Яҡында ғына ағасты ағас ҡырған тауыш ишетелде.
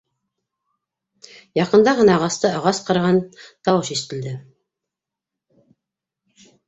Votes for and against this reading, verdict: 2, 0, accepted